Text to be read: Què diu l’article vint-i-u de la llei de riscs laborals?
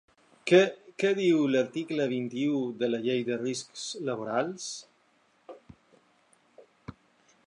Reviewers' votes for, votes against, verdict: 0, 2, rejected